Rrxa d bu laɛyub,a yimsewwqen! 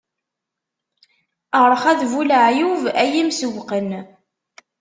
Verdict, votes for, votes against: accepted, 2, 0